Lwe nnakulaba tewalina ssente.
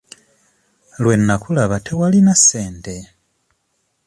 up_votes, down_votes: 2, 0